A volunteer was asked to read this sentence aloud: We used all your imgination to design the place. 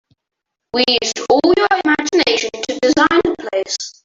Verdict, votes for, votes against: rejected, 0, 2